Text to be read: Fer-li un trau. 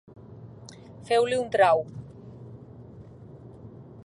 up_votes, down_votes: 0, 3